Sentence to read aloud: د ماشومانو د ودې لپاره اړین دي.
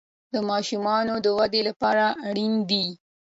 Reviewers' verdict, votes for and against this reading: accepted, 2, 0